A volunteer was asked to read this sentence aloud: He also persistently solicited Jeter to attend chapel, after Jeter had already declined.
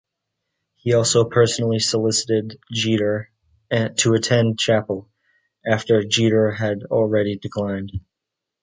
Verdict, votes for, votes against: rejected, 0, 2